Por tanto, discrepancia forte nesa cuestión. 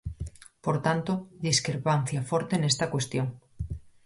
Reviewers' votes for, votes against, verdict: 0, 4, rejected